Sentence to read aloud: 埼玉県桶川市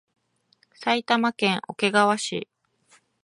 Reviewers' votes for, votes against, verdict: 2, 0, accepted